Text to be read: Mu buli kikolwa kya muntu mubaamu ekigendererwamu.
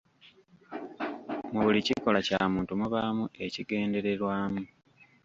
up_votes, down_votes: 0, 2